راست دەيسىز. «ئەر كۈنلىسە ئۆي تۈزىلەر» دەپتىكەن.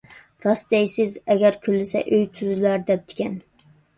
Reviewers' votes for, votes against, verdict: 1, 2, rejected